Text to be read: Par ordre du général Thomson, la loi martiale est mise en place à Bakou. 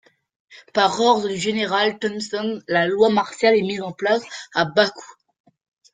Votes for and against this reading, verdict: 2, 0, accepted